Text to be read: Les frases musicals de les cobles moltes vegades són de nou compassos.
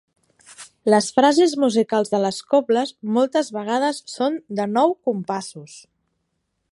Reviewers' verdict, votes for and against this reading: accepted, 3, 0